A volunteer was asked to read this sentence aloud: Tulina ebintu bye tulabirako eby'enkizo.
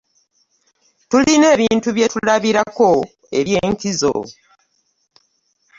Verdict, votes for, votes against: accepted, 2, 0